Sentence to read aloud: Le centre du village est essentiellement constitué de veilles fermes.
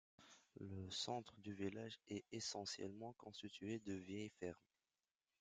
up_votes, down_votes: 0, 2